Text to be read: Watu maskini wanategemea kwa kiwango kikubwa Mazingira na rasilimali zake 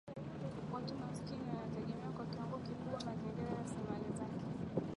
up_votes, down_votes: 3, 0